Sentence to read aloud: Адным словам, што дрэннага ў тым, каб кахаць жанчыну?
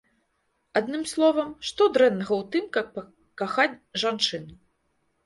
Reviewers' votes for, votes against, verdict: 1, 2, rejected